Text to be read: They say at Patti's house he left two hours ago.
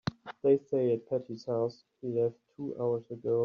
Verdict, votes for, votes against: rejected, 0, 2